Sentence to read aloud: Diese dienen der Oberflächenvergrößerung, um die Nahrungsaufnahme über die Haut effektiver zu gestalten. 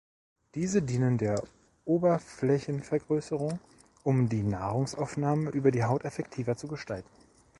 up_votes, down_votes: 2, 0